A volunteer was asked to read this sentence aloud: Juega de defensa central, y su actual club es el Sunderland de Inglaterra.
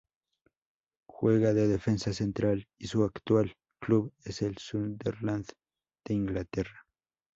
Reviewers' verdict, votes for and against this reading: accepted, 2, 0